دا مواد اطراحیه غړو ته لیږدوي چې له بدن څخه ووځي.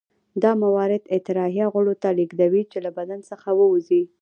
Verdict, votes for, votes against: rejected, 0, 2